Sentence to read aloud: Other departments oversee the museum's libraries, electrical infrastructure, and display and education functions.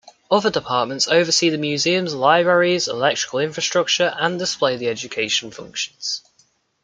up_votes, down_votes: 1, 2